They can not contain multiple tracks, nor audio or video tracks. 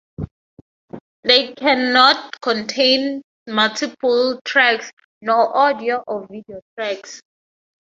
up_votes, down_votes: 4, 0